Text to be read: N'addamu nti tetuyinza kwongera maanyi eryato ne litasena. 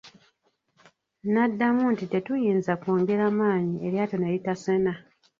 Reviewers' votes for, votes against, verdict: 0, 2, rejected